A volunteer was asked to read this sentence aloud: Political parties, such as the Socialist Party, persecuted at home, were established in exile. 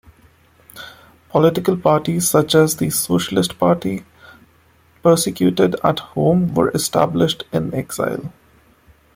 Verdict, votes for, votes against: accepted, 2, 0